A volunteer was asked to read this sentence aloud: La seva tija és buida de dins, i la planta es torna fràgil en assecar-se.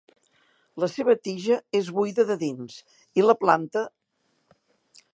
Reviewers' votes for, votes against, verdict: 0, 2, rejected